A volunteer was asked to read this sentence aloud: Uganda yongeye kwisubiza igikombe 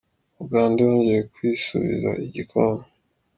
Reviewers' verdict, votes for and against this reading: accepted, 3, 0